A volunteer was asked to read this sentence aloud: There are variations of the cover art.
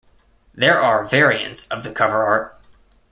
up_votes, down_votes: 1, 2